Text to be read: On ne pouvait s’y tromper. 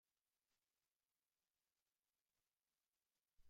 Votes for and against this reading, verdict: 0, 2, rejected